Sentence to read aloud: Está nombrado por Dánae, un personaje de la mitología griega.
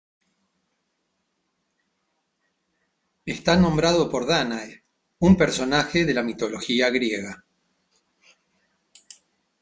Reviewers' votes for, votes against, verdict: 2, 0, accepted